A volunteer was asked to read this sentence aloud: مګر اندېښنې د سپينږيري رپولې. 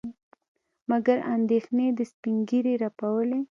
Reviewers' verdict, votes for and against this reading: accepted, 2, 1